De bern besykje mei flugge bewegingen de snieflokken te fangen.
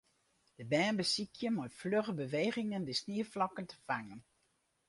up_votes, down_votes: 2, 2